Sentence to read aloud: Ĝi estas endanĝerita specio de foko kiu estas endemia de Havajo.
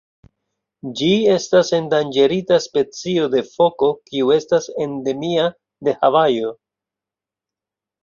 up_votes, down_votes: 2, 0